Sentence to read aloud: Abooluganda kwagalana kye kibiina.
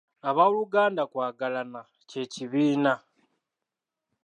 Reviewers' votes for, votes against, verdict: 2, 0, accepted